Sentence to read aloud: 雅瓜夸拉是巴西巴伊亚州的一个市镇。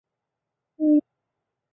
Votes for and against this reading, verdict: 0, 2, rejected